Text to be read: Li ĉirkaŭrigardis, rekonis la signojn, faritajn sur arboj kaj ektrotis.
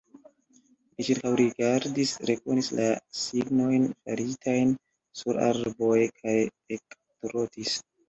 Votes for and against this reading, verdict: 1, 2, rejected